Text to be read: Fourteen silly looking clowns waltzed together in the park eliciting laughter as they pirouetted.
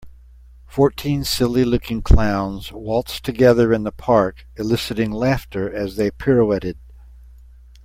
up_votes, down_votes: 2, 0